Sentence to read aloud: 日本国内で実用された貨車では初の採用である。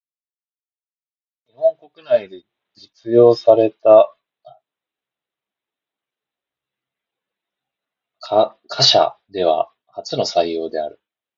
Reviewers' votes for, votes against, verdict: 0, 2, rejected